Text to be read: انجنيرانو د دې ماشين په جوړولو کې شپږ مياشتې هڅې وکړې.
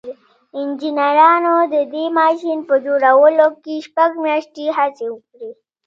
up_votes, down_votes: 2, 0